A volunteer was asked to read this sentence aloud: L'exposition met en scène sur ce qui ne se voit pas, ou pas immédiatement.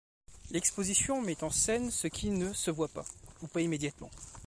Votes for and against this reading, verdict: 1, 2, rejected